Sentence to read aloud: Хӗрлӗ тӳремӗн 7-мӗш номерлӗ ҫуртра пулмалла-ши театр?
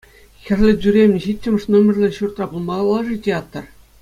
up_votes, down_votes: 0, 2